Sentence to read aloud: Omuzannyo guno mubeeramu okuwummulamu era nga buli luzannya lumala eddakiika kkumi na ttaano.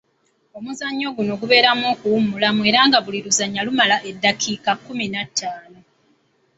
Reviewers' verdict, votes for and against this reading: accepted, 2, 0